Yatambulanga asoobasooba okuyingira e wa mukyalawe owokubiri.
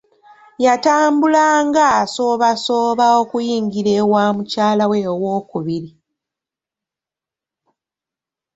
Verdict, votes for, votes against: accepted, 2, 0